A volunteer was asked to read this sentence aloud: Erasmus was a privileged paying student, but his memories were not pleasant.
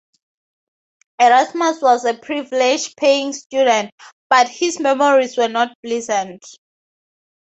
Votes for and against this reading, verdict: 2, 2, rejected